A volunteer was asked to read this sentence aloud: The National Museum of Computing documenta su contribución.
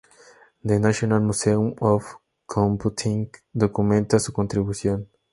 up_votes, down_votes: 2, 0